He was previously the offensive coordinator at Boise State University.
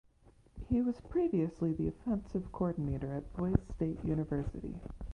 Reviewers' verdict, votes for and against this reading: rejected, 1, 2